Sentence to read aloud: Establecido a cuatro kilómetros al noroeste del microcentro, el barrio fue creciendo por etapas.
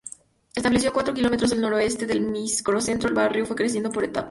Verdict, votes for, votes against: accepted, 2, 0